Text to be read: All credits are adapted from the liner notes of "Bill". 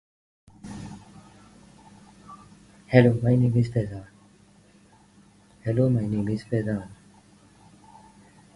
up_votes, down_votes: 1, 2